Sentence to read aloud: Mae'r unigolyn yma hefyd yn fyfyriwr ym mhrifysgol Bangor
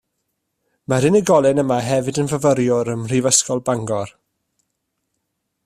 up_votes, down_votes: 2, 0